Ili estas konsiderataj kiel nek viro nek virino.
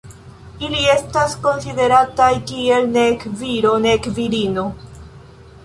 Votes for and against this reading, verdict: 2, 1, accepted